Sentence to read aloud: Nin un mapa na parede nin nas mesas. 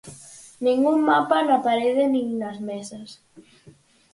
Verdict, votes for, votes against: accepted, 4, 0